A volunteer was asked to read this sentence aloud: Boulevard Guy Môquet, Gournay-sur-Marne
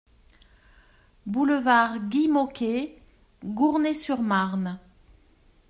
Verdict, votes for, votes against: accepted, 2, 0